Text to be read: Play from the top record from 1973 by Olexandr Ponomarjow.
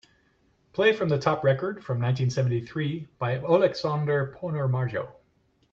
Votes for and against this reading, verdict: 0, 2, rejected